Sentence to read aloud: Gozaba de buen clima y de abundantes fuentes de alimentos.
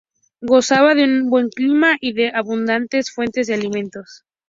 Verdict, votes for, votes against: rejected, 0, 2